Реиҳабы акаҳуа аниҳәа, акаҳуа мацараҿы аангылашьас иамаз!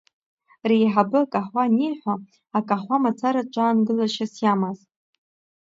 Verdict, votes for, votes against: rejected, 0, 2